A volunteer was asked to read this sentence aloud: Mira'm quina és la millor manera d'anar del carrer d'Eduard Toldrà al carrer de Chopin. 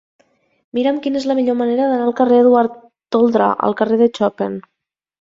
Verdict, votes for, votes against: rejected, 0, 2